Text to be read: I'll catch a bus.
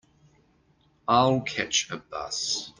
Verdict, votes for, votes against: accepted, 2, 1